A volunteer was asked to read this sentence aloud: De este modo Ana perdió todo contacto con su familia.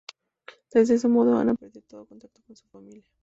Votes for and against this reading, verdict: 0, 2, rejected